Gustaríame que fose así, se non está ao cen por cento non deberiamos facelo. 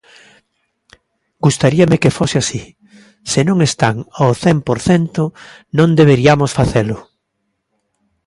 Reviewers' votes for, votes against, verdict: 2, 1, accepted